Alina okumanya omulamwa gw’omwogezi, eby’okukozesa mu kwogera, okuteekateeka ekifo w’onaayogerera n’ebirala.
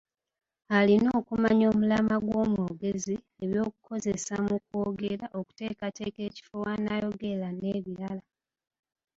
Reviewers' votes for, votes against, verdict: 2, 0, accepted